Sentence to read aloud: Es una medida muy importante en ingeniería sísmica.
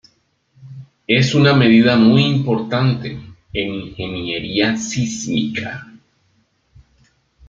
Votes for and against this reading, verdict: 2, 0, accepted